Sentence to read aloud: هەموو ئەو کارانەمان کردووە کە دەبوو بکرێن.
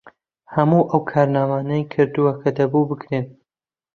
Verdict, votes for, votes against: rejected, 0, 2